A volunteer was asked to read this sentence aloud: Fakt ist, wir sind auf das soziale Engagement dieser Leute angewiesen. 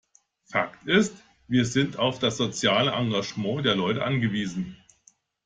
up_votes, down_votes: 1, 2